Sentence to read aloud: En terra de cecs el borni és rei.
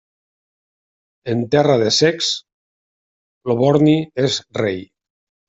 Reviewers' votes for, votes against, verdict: 1, 2, rejected